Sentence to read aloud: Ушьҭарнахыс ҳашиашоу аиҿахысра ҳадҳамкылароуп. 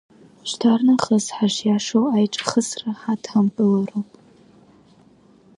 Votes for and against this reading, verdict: 2, 0, accepted